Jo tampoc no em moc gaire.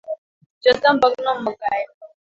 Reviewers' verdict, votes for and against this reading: rejected, 1, 2